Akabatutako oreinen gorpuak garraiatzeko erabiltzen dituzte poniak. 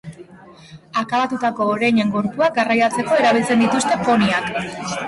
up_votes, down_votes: 3, 0